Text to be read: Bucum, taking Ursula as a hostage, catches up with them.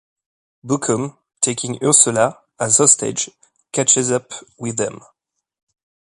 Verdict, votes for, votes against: rejected, 0, 2